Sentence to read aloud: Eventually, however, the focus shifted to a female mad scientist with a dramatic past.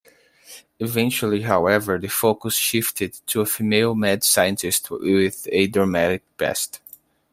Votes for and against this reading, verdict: 2, 0, accepted